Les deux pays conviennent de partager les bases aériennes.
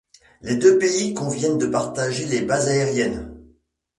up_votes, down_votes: 2, 0